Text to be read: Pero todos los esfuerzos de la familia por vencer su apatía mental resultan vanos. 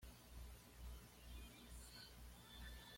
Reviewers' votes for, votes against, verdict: 1, 2, rejected